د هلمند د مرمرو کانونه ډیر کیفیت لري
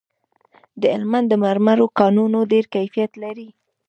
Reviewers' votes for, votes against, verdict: 1, 2, rejected